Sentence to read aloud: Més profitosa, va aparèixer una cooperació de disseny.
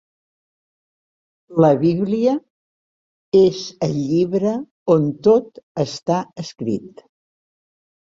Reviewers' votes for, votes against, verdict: 0, 2, rejected